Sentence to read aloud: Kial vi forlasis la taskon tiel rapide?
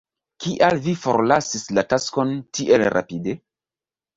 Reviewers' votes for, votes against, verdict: 2, 1, accepted